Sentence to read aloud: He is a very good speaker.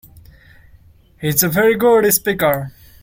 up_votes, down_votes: 2, 0